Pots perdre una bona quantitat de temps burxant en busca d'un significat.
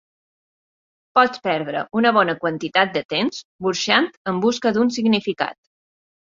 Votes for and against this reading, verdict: 3, 0, accepted